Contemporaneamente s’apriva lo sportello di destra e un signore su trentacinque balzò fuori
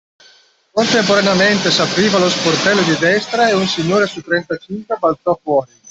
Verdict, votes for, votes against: rejected, 0, 2